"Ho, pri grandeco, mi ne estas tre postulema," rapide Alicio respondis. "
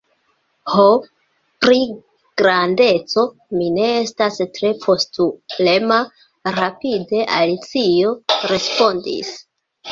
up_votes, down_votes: 3, 0